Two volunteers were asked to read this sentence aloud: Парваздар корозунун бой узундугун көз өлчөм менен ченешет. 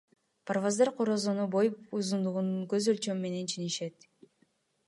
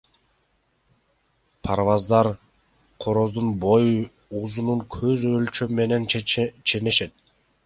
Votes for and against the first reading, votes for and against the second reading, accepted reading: 2, 0, 1, 3, first